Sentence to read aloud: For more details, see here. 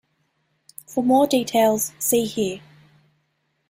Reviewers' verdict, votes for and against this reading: accepted, 2, 0